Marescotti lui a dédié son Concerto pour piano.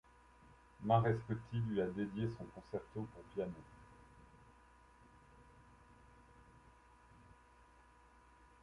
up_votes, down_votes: 1, 2